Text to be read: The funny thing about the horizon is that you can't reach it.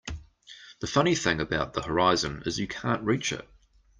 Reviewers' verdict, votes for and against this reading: rejected, 1, 2